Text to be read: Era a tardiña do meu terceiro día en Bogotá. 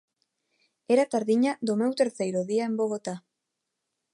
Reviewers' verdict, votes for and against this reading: accepted, 2, 0